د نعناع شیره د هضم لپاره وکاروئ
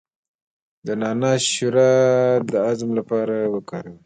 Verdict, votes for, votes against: rejected, 1, 2